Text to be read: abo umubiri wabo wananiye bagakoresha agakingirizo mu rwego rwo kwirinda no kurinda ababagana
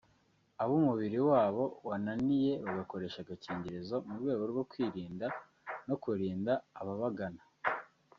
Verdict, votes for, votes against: accepted, 2, 0